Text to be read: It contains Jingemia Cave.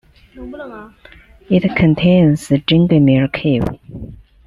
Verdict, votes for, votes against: rejected, 1, 2